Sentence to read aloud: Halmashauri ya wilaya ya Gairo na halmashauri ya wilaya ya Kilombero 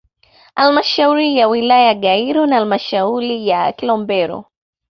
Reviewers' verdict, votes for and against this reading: accepted, 2, 0